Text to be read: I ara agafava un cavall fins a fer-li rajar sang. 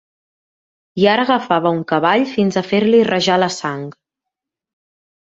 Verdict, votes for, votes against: rejected, 1, 2